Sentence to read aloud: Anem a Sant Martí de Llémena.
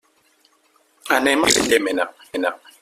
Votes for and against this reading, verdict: 0, 2, rejected